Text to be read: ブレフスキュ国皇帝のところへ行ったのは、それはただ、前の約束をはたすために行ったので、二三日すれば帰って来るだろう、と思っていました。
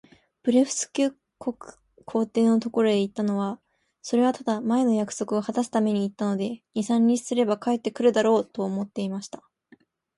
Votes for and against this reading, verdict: 2, 2, rejected